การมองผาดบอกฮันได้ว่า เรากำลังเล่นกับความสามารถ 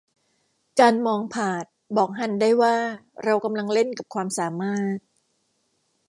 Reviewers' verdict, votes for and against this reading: accepted, 2, 0